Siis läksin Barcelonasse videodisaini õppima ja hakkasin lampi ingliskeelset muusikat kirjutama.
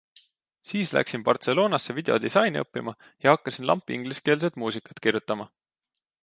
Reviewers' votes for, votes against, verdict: 2, 0, accepted